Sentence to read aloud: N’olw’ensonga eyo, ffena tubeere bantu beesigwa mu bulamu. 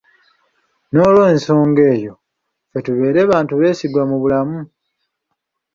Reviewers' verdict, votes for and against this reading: rejected, 1, 2